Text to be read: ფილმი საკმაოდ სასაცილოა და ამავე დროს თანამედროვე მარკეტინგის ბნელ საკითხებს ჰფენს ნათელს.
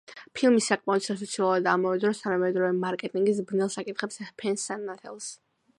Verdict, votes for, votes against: accepted, 2, 1